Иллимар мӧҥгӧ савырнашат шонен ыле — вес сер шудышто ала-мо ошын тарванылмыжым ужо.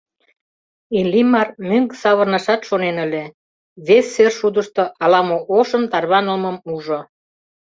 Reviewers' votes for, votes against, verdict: 1, 2, rejected